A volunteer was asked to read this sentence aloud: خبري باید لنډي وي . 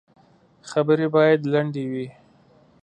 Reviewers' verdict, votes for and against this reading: accepted, 3, 0